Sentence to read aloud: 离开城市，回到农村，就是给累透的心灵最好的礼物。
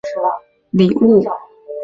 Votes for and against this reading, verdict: 1, 4, rejected